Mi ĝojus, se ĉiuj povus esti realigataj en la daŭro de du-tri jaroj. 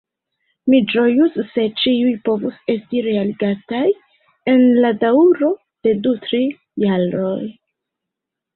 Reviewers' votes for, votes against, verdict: 1, 2, rejected